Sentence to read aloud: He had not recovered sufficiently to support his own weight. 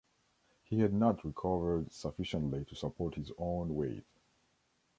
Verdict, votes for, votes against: accepted, 2, 1